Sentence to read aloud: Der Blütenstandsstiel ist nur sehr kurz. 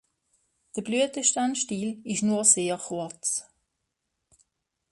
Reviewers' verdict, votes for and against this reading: accepted, 2, 1